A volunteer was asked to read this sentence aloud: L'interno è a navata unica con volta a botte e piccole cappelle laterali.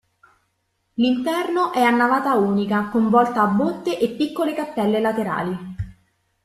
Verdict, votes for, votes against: accepted, 2, 0